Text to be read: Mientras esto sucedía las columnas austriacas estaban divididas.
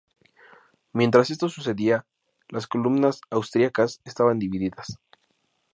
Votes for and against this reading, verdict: 4, 0, accepted